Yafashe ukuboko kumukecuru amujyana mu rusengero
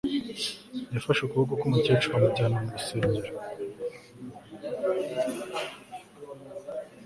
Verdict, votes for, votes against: accepted, 2, 0